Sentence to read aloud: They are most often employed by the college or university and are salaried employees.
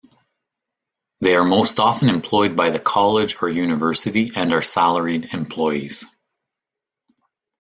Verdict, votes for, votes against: accepted, 2, 0